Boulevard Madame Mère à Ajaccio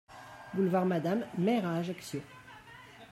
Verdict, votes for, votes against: rejected, 1, 2